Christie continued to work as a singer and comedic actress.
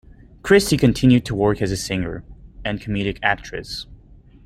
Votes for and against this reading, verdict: 2, 0, accepted